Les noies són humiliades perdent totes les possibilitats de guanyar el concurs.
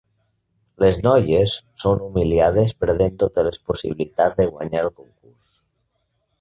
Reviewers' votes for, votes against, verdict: 1, 2, rejected